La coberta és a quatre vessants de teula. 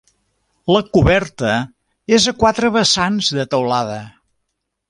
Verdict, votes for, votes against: rejected, 0, 2